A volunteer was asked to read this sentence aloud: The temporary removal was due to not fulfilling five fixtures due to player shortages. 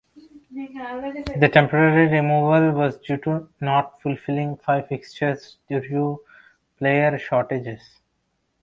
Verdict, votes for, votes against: accepted, 2, 1